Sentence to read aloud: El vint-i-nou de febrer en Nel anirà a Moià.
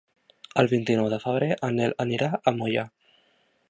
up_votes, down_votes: 2, 0